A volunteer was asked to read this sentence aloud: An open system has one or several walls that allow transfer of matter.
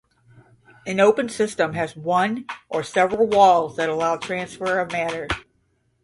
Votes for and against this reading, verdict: 5, 0, accepted